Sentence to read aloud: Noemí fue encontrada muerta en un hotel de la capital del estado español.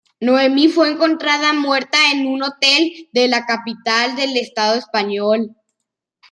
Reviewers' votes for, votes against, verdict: 2, 0, accepted